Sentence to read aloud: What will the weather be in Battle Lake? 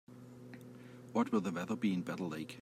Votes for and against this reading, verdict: 2, 0, accepted